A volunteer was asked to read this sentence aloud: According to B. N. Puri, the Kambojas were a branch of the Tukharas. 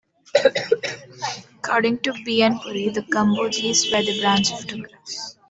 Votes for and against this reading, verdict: 1, 2, rejected